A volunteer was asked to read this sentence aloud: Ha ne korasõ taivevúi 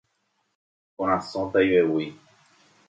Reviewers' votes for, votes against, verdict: 0, 2, rejected